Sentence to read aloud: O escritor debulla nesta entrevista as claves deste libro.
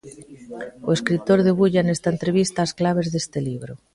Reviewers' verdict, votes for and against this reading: rejected, 0, 2